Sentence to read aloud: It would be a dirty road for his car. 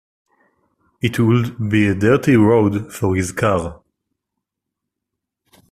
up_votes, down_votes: 2, 1